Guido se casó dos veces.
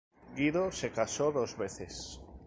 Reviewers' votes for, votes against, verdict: 2, 0, accepted